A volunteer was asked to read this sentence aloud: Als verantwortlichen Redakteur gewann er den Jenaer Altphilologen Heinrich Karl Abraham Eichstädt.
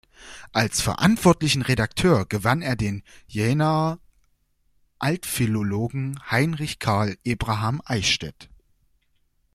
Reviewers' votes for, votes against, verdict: 0, 2, rejected